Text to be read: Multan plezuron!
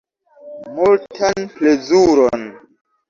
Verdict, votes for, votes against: rejected, 2, 3